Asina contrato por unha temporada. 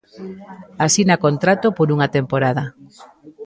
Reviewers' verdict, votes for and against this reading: rejected, 0, 2